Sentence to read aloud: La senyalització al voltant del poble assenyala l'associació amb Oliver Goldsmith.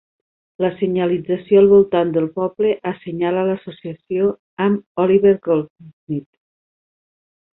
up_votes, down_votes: 0, 2